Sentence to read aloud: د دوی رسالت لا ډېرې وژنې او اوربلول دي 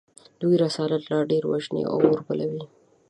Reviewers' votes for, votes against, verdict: 1, 2, rejected